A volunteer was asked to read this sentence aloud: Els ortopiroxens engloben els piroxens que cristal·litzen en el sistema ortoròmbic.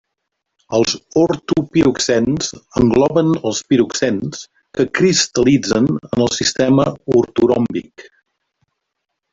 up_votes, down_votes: 0, 2